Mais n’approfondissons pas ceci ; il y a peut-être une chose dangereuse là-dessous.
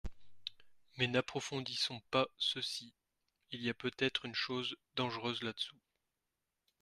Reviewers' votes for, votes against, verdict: 3, 0, accepted